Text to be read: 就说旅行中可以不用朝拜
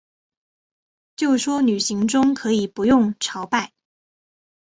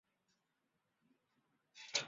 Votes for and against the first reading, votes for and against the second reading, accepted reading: 6, 0, 0, 7, first